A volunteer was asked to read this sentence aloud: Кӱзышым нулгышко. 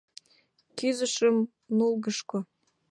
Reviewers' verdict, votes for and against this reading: accepted, 2, 0